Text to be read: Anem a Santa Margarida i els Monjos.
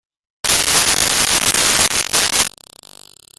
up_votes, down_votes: 0, 2